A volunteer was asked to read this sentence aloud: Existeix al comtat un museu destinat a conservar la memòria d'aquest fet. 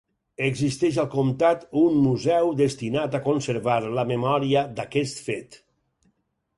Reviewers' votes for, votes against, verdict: 4, 0, accepted